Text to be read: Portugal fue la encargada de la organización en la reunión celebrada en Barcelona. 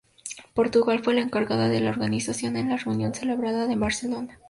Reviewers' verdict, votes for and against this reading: accepted, 2, 0